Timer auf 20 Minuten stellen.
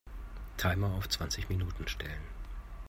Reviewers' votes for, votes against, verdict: 0, 2, rejected